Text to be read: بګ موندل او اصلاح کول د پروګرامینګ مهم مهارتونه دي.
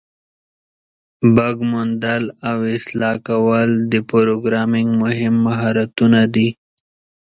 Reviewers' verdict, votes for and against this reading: rejected, 1, 2